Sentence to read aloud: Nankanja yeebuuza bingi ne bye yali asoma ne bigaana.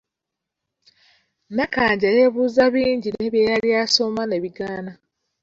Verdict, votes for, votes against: rejected, 1, 2